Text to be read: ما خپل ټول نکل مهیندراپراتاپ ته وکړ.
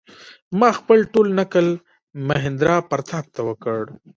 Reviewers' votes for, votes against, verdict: 2, 0, accepted